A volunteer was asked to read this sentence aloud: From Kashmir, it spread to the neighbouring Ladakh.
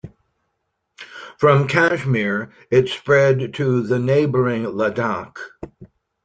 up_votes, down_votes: 2, 0